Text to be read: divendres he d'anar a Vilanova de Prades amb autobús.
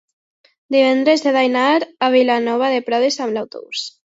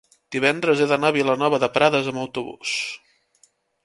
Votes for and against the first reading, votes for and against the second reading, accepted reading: 0, 2, 4, 0, second